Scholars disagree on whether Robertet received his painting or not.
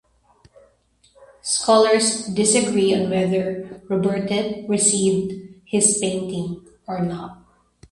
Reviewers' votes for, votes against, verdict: 2, 0, accepted